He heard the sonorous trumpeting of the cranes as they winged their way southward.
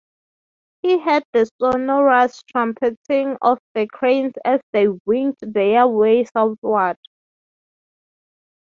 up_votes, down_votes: 6, 0